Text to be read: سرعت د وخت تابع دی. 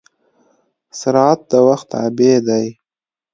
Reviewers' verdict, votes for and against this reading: accepted, 2, 0